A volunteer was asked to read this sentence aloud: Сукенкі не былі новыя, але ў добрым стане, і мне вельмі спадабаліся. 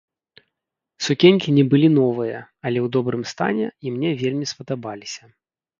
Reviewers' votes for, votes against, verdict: 1, 2, rejected